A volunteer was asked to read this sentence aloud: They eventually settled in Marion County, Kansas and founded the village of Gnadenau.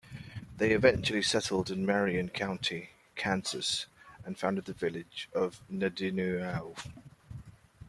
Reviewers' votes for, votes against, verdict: 1, 2, rejected